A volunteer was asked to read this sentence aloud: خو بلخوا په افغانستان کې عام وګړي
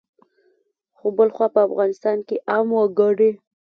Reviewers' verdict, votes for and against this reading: accepted, 3, 0